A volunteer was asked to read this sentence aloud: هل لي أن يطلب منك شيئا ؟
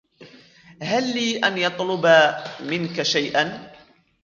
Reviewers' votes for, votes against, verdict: 0, 2, rejected